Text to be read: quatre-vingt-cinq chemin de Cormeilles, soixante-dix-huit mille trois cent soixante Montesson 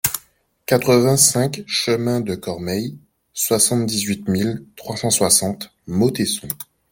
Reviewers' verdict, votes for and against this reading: rejected, 1, 2